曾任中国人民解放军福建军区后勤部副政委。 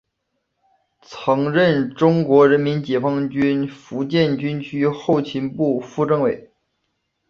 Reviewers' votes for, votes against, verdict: 3, 0, accepted